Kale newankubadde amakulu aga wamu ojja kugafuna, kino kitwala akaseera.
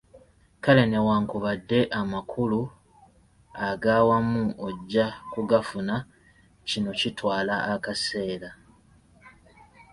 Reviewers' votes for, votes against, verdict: 2, 0, accepted